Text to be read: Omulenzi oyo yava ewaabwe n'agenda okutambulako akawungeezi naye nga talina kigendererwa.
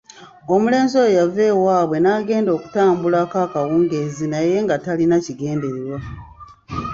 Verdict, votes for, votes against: accepted, 2, 0